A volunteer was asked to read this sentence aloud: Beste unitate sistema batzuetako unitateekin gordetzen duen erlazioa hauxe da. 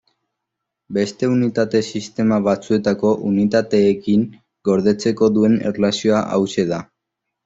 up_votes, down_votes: 0, 2